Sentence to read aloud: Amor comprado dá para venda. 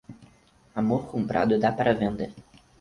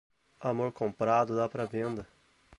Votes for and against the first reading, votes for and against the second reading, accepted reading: 0, 2, 4, 2, second